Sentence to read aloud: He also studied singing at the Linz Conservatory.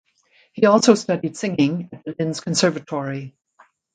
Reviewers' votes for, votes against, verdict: 1, 2, rejected